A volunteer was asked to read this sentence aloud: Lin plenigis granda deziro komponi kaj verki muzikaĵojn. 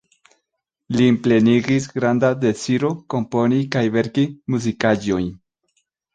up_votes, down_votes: 2, 0